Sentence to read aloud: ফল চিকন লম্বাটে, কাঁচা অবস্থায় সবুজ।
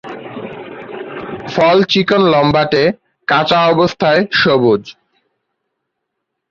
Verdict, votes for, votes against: rejected, 3, 3